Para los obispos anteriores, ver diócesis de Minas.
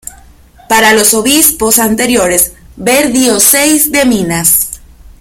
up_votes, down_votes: 0, 3